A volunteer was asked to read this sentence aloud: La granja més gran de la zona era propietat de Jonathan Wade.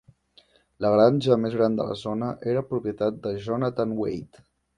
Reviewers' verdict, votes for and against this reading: accepted, 2, 0